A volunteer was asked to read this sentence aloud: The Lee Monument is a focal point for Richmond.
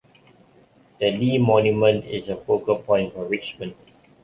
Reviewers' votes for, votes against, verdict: 2, 0, accepted